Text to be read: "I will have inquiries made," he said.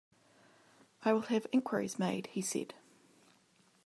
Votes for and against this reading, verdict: 2, 0, accepted